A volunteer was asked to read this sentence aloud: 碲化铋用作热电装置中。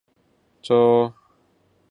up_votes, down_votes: 2, 4